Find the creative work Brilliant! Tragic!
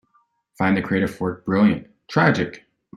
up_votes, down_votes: 2, 0